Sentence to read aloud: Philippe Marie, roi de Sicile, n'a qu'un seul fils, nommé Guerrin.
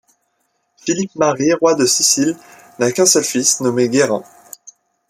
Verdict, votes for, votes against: accepted, 2, 0